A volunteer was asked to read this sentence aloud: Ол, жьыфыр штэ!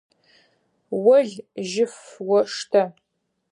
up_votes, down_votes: 2, 4